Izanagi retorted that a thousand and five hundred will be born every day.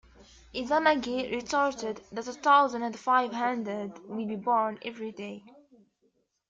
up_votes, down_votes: 2, 0